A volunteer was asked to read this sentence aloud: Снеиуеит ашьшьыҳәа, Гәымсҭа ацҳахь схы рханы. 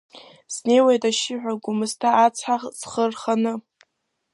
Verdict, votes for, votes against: rejected, 0, 2